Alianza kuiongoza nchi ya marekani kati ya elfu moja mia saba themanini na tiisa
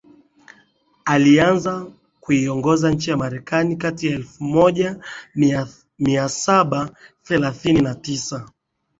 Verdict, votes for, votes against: rejected, 0, 2